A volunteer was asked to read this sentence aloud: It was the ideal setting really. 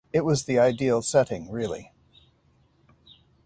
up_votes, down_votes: 2, 0